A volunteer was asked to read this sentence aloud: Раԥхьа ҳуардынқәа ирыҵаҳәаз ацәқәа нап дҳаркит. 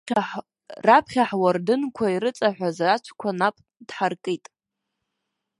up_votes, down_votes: 1, 2